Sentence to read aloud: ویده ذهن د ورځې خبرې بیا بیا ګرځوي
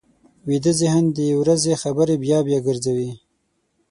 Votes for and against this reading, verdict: 6, 0, accepted